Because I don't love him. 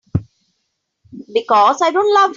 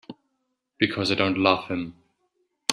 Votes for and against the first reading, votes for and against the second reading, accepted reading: 0, 3, 2, 1, second